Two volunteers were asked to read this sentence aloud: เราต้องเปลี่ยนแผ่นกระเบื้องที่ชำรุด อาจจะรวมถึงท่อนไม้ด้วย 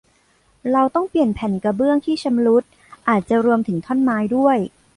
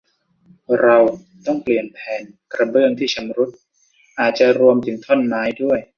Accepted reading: first